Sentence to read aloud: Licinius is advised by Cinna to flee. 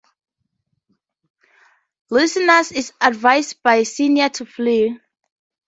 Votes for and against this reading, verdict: 2, 0, accepted